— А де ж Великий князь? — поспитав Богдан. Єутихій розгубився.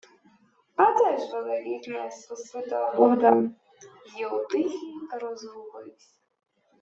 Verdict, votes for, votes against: rejected, 1, 2